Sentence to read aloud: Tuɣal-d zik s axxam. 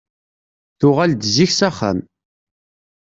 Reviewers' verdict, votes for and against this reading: accepted, 2, 0